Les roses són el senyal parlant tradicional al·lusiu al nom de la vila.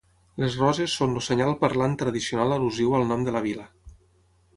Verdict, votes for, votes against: rejected, 3, 6